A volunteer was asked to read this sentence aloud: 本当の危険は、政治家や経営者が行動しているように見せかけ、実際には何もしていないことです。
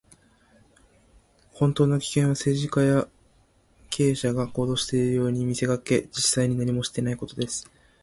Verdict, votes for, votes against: rejected, 1, 2